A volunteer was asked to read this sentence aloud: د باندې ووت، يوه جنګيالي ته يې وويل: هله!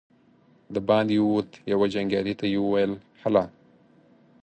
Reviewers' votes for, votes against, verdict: 4, 0, accepted